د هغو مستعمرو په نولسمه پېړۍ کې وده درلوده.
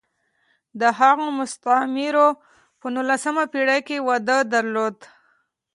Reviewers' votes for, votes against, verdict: 0, 2, rejected